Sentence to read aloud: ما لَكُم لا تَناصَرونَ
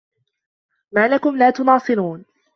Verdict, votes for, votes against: rejected, 0, 2